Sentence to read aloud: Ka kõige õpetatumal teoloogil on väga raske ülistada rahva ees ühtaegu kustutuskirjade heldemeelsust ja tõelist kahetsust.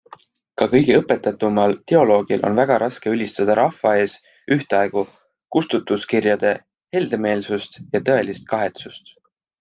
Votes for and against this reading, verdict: 2, 0, accepted